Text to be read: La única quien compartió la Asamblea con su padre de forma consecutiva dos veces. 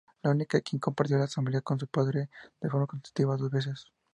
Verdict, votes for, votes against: accepted, 2, 0